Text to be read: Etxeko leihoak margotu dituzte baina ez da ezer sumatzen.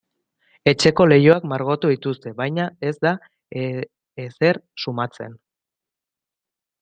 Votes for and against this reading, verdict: 0, 2, rejected